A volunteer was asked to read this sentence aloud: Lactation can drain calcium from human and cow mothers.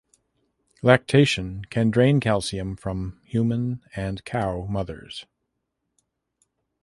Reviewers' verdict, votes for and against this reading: accepted, 2, 0